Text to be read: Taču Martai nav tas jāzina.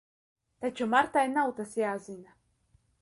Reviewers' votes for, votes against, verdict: 2, 0, accepted